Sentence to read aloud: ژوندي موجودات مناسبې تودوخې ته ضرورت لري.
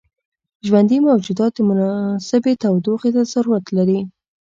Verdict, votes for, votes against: accepted, 2, 0